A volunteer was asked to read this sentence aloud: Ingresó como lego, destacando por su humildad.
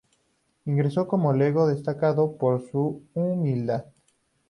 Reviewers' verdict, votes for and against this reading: accepted, 2, 0